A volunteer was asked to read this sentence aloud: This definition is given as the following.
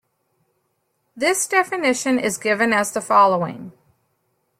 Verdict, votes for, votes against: accepted, 3, 0